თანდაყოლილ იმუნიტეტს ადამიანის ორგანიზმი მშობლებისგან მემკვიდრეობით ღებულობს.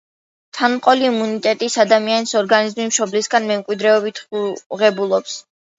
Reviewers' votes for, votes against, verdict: 2, 0, accepted